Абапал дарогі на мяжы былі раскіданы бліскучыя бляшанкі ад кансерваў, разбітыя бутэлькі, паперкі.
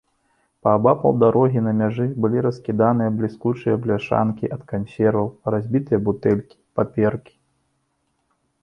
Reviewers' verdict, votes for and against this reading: rejected, 1, 2